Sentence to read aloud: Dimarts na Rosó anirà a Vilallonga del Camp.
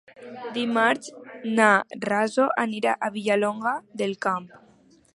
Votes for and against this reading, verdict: 0, 2, rejected